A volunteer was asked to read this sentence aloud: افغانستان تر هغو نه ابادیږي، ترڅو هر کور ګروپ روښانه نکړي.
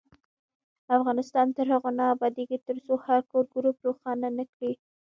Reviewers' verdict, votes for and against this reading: rejected, 1, 2